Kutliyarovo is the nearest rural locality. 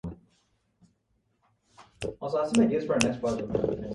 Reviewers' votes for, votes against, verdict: 0, 2, rejected